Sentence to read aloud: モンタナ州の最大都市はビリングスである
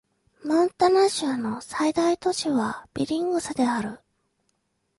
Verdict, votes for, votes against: accepted, 2, 0